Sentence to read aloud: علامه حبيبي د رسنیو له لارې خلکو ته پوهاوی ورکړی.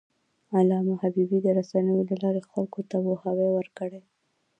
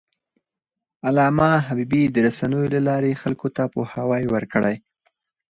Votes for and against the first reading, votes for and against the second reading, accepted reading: 1, 2, 4, 2, second